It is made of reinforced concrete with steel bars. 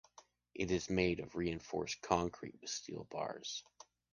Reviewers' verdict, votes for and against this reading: accepted, 2, 1